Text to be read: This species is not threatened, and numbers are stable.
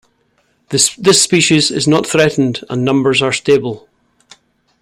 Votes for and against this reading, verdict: 1, 2, rejected